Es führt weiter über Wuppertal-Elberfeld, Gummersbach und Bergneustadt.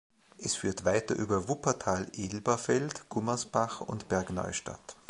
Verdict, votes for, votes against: accepted, 2, 0